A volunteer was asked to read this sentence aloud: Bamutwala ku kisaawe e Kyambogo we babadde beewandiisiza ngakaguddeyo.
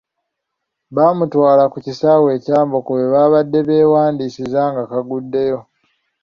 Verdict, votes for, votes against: accepted, 2, 1